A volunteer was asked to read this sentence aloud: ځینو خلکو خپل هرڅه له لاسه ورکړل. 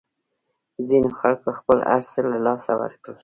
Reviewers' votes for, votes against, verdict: 1, 2, rejected